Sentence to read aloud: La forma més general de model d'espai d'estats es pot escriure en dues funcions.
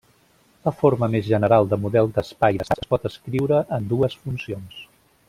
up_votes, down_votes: 0, 2